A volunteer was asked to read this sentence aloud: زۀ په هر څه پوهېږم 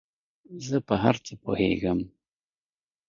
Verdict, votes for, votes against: accepted, 2, 0